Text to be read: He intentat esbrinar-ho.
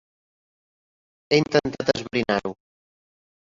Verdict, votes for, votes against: rejected, 1, 3